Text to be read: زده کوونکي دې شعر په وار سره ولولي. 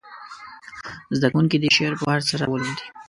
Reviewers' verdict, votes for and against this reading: rejected, 0, 2